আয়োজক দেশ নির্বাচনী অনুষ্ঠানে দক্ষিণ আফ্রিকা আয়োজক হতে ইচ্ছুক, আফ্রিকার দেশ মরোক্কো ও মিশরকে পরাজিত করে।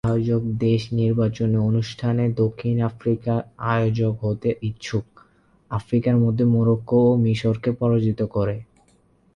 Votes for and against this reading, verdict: 0, 8, rejected